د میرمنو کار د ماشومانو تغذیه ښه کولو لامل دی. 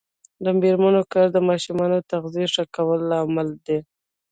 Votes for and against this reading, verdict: 0, 2, rejected